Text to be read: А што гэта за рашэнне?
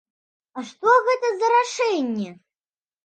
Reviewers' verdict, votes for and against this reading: accepted, 2, 0